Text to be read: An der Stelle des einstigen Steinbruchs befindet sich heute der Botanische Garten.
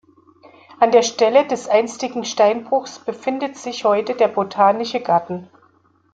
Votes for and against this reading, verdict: 2, 0, accepted